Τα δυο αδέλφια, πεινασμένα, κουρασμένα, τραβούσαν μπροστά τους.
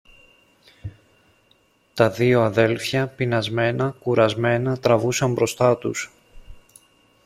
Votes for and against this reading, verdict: 2, 1, accepted